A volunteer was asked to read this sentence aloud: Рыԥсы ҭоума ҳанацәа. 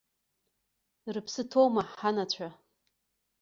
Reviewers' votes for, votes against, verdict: 2, 0, accepted